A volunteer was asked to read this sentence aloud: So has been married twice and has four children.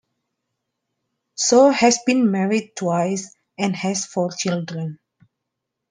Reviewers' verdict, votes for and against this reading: accepted, 2, 0